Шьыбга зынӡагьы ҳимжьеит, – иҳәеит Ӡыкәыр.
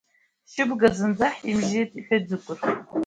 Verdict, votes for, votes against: rejected, 0, 2